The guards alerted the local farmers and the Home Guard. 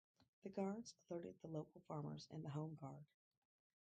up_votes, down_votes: 0, 4